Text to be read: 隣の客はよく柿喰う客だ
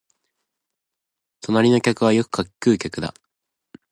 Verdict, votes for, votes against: accepted, 2, 0